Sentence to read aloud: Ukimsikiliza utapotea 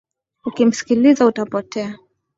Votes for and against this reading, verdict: 5, 0, accepted